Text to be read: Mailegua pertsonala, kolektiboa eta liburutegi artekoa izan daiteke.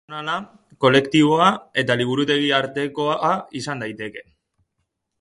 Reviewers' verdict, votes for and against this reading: rejected, 0, 2